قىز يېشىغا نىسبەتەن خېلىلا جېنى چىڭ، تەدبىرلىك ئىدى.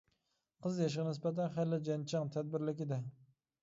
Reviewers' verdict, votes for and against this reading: rejected, 0, 2